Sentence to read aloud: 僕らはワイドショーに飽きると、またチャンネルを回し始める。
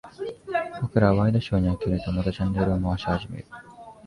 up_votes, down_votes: 1, 2